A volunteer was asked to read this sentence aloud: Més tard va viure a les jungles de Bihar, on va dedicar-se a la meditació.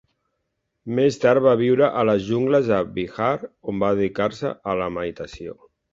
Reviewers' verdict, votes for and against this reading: accepted, 2, 0